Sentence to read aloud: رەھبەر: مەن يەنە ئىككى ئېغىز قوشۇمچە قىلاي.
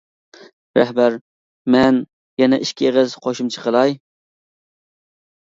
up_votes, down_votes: 2, 0